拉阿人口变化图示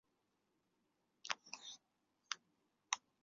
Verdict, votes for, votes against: rejected, 1, 3